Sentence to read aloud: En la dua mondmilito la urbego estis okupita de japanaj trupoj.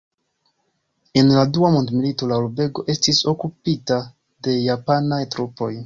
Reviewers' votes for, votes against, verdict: 2, 0, accepted